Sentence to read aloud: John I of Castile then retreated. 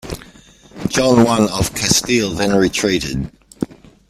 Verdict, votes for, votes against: accepted, 2, 0